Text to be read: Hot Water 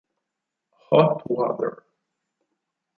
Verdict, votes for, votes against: accepted, 4, 0